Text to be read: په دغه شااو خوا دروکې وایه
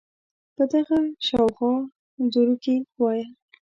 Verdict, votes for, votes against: rejected, 0, 2